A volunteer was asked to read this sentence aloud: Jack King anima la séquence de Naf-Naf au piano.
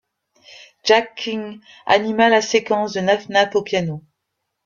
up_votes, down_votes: 1, 2